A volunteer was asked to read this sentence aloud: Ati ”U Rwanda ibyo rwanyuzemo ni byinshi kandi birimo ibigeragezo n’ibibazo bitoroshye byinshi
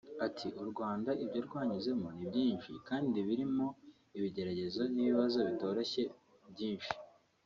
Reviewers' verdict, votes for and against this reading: accepted, 2, 0